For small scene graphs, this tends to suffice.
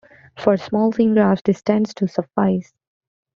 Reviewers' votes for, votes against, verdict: 2, 0, accepted